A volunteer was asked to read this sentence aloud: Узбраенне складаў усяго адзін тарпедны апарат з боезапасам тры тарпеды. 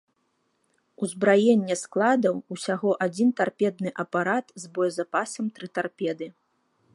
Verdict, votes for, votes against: rejected, 0, 2